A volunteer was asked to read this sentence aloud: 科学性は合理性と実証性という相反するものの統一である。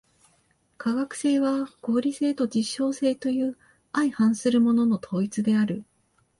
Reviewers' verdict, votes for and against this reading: accepted, 2, 0